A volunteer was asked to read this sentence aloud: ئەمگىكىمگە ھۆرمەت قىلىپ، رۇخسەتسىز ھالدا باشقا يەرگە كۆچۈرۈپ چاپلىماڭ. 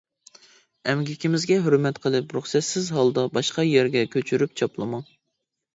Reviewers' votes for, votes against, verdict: 0, 2, rejected